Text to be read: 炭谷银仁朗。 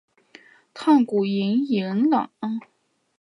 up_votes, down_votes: 1, 2